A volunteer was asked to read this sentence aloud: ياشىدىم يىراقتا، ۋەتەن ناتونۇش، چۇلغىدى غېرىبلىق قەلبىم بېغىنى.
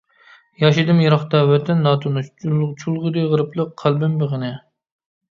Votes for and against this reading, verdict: 0, 2, rejected